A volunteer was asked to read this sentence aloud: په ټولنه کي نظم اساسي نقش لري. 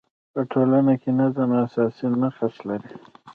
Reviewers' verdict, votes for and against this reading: accepted, 2, 0